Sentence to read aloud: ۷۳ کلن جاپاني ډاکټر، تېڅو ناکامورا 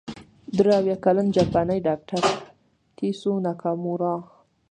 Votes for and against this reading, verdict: 0, 2, rejected